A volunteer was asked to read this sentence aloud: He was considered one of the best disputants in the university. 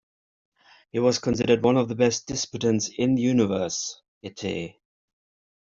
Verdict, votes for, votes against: rejected, 0, 2